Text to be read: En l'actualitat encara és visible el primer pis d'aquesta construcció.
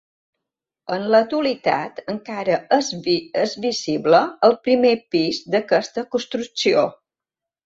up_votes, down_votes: 0, 2